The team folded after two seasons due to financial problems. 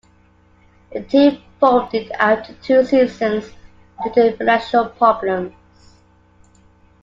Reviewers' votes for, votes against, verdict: 1, 2, rejected